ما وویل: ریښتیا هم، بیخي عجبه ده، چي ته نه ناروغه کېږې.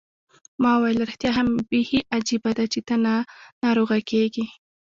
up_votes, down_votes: 0, 2